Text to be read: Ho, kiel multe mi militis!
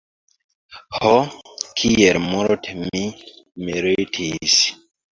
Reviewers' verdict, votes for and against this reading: rejected, 1, 2